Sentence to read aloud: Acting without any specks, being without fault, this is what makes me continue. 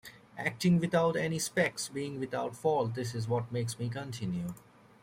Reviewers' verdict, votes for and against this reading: rejected, 1, 2